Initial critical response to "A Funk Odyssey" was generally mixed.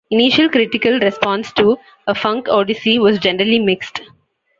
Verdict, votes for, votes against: accepted, 2, 0